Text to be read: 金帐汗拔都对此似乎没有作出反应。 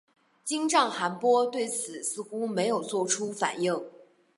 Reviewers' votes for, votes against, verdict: 3, 0, accepted